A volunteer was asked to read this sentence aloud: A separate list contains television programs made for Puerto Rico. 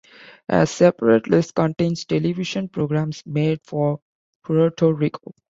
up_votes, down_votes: 0, 2